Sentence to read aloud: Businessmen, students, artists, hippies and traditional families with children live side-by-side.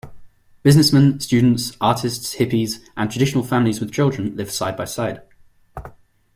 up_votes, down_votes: 2, 0